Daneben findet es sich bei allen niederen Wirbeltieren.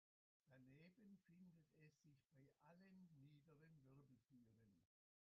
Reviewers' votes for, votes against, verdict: 0, 2, rejected